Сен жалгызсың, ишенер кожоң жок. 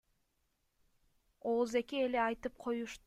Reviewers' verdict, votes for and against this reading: rejected, 0, 2